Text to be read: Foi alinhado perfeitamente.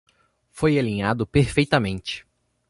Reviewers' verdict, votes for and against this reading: accepted, 2, 0